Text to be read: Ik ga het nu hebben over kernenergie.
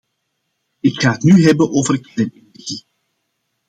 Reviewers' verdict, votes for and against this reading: rejected, 0, 2